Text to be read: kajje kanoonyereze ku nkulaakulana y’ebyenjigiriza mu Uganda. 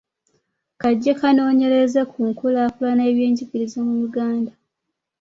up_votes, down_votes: 2, 1